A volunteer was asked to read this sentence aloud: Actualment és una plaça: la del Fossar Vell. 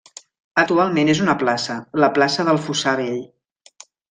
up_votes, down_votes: 1, 2